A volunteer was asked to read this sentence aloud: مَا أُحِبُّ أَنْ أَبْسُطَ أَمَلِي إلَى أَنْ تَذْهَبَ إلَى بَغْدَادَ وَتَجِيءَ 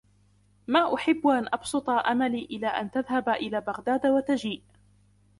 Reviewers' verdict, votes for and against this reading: accepted, 2, 0